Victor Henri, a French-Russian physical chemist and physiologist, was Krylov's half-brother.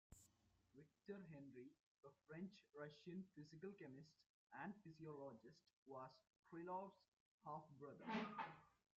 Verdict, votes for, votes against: rejected, 1, 2